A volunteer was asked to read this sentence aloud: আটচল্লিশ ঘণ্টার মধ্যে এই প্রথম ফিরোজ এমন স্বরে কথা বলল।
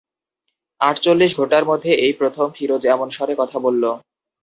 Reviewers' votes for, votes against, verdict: 0, 2, rejected